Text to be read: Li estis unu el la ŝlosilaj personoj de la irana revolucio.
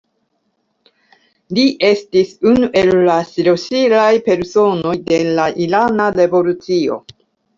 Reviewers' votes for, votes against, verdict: 1, 2, rejected